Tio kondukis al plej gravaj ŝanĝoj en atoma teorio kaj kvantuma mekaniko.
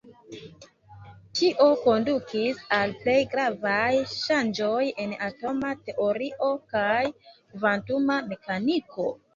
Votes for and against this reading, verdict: 0, 2, rejected